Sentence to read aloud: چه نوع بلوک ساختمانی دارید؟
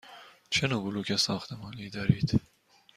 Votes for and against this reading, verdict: 2, 0, accepted